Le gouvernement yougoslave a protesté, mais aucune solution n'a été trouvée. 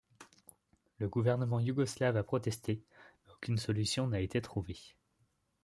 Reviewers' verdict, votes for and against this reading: rejected, 0, 2